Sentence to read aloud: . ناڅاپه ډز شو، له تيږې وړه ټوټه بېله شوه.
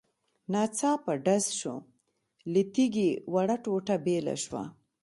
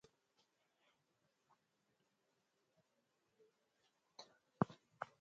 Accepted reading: first